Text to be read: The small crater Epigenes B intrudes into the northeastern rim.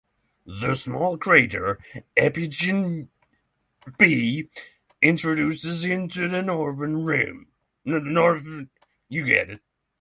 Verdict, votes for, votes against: rejected, 0, 3